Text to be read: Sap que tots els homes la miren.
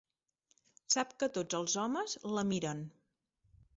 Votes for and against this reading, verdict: 3, 0, accepted